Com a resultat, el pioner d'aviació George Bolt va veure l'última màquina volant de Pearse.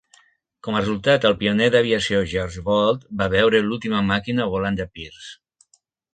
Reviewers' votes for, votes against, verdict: 2, 1, accepted